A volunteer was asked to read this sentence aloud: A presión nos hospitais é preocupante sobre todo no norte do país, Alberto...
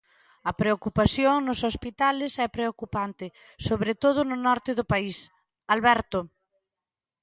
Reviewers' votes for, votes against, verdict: 1, 2, rejected